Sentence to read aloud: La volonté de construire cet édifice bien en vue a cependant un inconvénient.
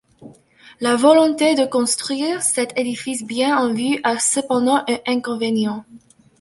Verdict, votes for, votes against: accepted, 2, 1